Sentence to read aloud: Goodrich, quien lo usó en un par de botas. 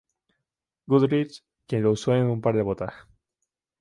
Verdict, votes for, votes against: accepted, 2, 0